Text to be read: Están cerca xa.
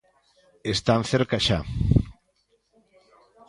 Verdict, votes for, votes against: accepted, 2, 0